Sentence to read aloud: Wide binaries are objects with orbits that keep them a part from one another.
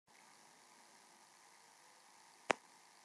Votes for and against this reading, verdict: 0, 2, rejected